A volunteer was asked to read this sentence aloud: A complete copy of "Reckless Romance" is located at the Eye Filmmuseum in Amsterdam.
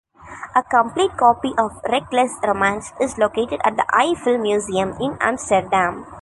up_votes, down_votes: 2, 0